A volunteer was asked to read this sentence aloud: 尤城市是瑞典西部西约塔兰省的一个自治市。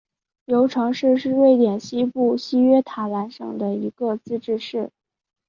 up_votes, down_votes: 4, 0